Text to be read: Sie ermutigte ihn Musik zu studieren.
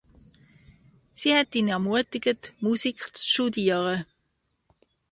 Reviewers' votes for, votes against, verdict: 0, 2, rejected